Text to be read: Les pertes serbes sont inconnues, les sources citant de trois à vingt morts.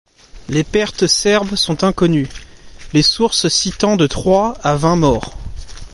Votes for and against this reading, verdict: 2, 0, accepted